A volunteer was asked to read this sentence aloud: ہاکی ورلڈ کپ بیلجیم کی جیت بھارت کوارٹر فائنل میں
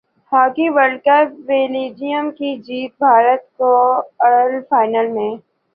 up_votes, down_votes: 2, 1